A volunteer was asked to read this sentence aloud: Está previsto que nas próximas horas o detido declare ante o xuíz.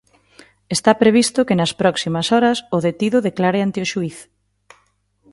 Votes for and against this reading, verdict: 3, 0, accepted